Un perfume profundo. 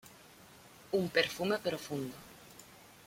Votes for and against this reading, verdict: 2, 0, accepted